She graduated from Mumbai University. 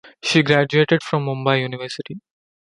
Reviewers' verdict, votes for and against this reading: accepted, 2, 0